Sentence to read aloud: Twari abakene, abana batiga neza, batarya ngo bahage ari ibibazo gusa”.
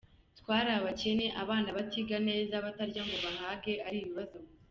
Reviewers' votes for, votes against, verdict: 0, 2, rejected